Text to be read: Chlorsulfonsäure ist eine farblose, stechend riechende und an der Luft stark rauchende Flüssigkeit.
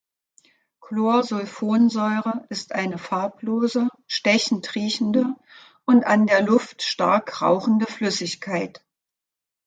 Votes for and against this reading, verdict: 2, 0, accepted